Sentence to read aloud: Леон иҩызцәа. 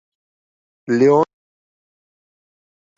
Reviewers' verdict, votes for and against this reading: rejected, 1, 2